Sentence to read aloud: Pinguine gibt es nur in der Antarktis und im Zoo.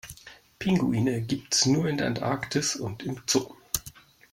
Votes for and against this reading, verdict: 0, 2, rejected